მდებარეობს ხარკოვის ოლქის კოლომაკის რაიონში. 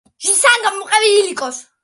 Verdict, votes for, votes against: rejected, 0, 2